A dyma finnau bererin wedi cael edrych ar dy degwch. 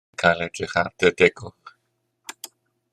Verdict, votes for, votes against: rejected, 0, 2